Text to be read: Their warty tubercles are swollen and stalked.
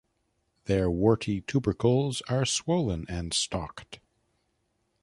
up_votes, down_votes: 2, 0